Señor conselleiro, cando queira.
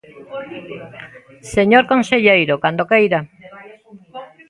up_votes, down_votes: 1, 2